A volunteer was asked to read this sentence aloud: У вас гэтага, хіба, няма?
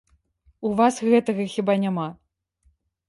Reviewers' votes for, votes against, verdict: 2, 0, accepted